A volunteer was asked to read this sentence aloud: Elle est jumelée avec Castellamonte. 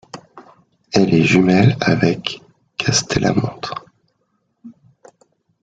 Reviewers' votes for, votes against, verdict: 1, 2, rejected